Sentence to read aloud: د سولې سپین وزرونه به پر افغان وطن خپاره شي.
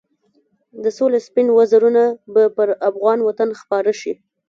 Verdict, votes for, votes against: rejected, 1, 2